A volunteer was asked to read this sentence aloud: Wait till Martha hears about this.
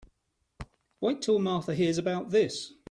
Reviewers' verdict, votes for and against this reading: accepted, 2, 0